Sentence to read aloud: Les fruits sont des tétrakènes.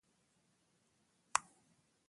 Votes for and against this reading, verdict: 0, 2, rejected